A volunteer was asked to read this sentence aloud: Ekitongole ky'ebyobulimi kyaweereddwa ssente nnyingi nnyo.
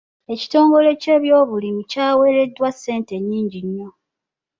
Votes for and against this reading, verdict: 2, 0, accepted